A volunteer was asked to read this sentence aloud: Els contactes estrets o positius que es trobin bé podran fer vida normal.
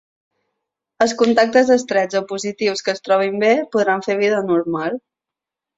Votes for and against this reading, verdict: 9, 0, accepted